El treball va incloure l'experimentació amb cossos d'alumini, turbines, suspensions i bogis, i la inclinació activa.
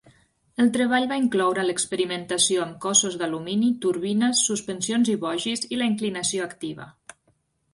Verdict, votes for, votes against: accepted, 3, 0